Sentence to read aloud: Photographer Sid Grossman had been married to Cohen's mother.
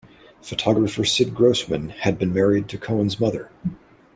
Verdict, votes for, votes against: accepted, 2, 0